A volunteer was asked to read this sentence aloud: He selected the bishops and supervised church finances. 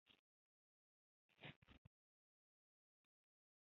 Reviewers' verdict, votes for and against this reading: rejected, 0, 2